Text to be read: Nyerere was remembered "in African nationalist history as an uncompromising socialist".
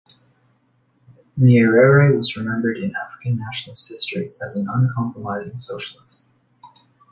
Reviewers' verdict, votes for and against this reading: rejected, 1, 2